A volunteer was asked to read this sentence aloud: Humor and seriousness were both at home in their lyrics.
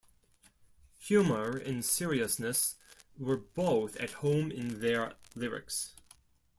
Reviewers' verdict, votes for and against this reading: rejected, 1, 2